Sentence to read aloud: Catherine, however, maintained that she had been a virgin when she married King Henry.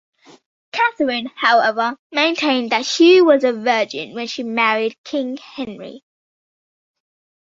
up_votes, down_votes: 2, 0